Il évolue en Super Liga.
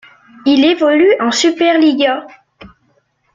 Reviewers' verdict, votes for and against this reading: rejected, 0, 2